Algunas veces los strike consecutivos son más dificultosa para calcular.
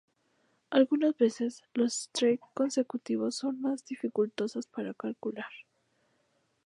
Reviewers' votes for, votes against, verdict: 0, 2, rejected